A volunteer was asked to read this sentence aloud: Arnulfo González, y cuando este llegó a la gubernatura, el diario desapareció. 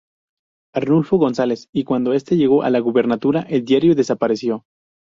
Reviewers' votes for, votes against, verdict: 2, 0, accepted